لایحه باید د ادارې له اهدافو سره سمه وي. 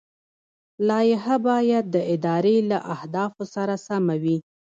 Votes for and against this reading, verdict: 2, 1, accepted